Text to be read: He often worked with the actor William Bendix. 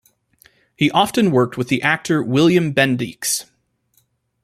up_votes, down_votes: 2, 1